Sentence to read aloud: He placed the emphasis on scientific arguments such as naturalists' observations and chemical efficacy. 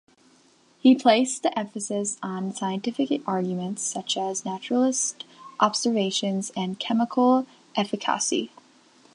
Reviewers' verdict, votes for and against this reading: rejected, 0, 3